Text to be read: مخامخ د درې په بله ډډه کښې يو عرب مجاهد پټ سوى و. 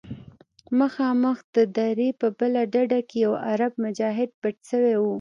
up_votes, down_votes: 2, 0